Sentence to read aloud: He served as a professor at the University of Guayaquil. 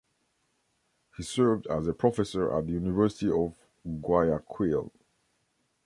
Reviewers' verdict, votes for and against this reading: accepted, 2, 0